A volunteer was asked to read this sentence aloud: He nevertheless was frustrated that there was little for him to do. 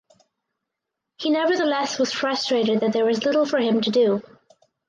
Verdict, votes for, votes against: accepted, 6, 0